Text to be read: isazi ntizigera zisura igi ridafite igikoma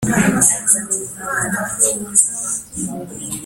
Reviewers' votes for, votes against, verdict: 0, 2, rejected